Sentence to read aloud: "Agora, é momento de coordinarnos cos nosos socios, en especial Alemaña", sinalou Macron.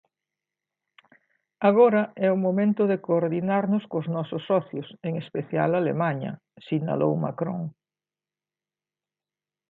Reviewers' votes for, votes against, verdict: 0, 2, rejected